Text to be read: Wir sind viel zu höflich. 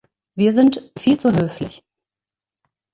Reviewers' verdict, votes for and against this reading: accepted, 3, 0